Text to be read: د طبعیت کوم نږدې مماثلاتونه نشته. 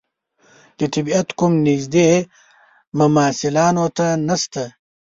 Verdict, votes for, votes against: rejected, 1, 2